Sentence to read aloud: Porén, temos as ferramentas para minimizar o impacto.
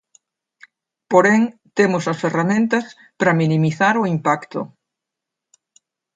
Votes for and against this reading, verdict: 2, 0, accepted